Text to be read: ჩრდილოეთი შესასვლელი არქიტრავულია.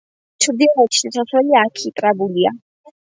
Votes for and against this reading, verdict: 1, 2, rejected